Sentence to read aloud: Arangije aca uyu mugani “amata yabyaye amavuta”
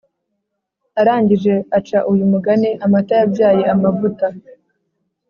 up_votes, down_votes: 2, 0